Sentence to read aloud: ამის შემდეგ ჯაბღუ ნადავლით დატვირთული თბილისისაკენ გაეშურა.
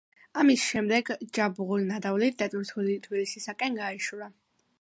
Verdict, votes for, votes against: accepted, 2, 0